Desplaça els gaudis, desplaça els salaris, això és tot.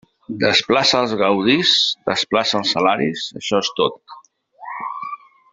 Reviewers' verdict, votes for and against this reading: rejected, 0, 2